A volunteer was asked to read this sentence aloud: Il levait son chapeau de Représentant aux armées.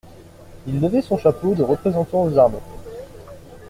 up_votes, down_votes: 2, 0